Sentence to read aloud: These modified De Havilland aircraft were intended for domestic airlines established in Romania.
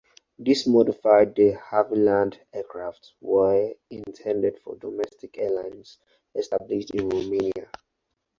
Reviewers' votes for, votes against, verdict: 2, 4, rejected